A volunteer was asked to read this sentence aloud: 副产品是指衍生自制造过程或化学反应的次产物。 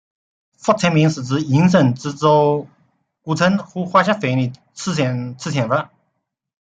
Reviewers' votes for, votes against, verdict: 1, 2, rejected